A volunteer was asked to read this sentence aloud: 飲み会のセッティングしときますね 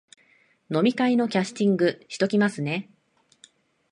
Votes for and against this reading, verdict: 0, 2, rejected